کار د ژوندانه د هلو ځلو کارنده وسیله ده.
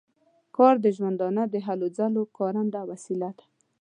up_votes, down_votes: 2, 0